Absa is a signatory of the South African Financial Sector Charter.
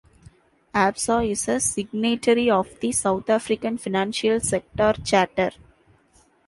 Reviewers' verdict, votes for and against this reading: accepted, 2, 1